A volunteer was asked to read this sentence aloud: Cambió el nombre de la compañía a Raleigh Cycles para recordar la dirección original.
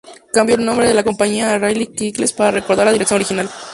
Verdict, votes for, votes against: accepted, 4, 0